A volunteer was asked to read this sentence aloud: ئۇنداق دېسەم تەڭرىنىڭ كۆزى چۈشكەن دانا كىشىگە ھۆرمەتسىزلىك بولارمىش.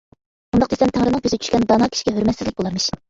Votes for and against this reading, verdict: 1, 2, rejected